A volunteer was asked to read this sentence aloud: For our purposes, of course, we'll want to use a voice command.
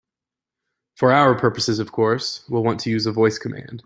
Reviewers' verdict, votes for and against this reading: accepted, 2, 0